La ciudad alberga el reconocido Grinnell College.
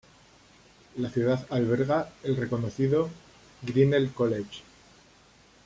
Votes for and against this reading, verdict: 3, 0, accepted